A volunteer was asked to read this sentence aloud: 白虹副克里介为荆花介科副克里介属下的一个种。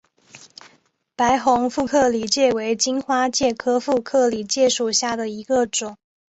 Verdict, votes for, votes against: accepted, 5, 0